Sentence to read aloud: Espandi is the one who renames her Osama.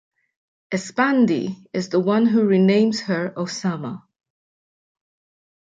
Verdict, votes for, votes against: accepted, 2, 0